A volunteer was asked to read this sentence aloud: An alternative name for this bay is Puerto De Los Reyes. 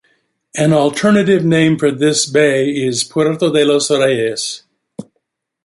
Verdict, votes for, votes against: rejected, 0, 2